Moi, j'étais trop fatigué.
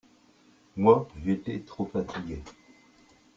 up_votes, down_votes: 1, 2